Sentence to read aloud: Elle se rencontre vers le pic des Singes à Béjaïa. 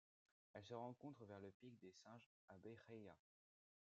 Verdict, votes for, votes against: accepted, 2, 0